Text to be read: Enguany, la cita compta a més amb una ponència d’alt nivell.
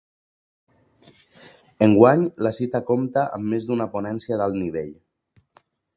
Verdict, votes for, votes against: rejected, 0, 2